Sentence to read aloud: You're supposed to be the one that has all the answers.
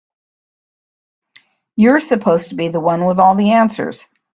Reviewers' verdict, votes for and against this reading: rejected, 1, 2